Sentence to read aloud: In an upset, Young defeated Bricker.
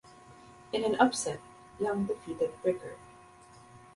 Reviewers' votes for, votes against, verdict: 3, 0, accepted